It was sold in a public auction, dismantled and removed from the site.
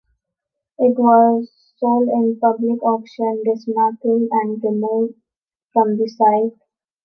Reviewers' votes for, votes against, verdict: 2, 0, accepted